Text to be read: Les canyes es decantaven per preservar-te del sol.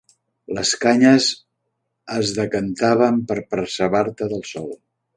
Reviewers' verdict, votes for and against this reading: rejected, 1, 2